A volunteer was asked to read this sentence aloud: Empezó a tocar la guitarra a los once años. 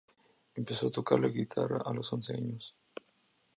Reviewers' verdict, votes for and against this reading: accepted, 2, 0